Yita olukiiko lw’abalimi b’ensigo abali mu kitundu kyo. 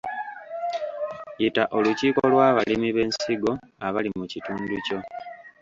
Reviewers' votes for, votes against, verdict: 0, 2, rejected